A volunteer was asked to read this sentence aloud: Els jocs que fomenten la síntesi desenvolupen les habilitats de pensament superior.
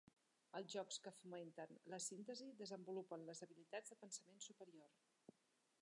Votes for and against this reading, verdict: 1, 2, rejected